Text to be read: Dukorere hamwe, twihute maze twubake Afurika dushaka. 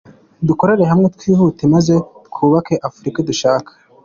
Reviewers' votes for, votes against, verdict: 2, 0, accepted